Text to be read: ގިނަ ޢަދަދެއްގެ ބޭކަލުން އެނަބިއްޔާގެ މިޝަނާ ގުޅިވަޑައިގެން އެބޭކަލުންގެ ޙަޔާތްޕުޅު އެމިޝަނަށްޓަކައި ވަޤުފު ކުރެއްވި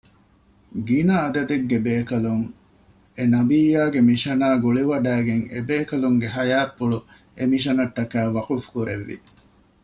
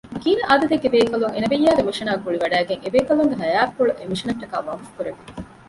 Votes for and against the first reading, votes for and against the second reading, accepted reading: 2, 0, 1, 2, first